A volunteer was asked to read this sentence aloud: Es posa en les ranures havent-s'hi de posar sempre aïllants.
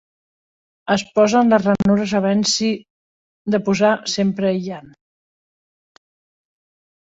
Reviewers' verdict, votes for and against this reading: accepted, 3, 1